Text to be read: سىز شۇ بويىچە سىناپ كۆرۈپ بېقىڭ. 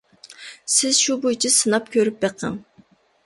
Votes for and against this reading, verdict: 2, 0, accepted